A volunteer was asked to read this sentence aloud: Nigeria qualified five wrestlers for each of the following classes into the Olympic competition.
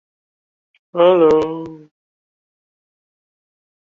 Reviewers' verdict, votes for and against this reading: rejected, 0, 2